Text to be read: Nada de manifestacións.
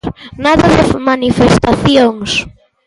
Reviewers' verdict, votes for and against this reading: rejected, 1, 2